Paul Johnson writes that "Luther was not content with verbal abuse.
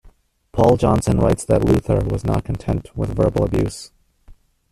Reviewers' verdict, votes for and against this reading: rejected, 1, 2